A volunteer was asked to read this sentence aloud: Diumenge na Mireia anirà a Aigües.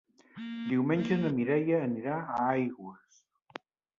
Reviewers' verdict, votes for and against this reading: accepted, 3, 0